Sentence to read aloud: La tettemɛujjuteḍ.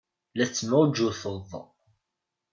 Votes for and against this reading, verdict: 2, 0, accepted